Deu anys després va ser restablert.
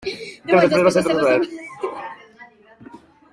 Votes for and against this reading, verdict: 0, 2, rejected